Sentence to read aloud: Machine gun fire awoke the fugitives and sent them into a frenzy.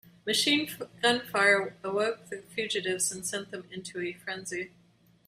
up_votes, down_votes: 1, 2